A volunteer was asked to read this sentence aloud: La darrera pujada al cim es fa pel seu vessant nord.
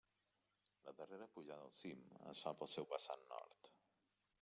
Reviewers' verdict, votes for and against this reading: accepted, 2, 1